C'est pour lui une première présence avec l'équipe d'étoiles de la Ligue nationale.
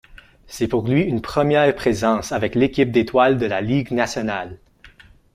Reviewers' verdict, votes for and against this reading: accepted, 2, 0